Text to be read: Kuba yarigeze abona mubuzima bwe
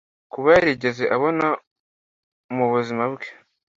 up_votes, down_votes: 2, 0